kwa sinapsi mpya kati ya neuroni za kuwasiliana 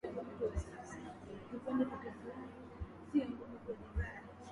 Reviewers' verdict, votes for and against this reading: rejected, 2, 3